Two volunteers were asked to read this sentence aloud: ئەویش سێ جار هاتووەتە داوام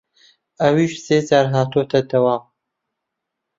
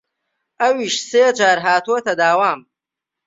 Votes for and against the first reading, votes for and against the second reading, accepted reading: 0, 2, 3, 0, second